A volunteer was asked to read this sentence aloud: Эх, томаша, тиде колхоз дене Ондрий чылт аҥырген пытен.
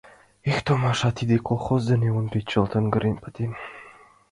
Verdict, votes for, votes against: accepted, 2, 0